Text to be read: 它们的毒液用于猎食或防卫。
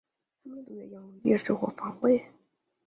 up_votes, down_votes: 0, 3